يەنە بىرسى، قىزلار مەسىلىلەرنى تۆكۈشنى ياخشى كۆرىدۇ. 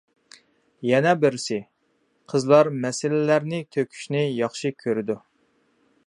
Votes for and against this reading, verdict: 2, 0, accepted